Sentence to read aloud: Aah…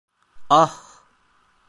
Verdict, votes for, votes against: rejected, 0, 2